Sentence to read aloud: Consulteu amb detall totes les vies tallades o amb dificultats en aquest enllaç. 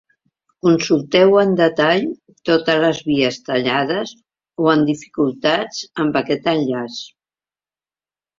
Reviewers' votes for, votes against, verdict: 1, 2, rejected